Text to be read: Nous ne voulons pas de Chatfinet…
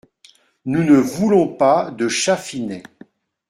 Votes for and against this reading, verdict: 2, 0, accepted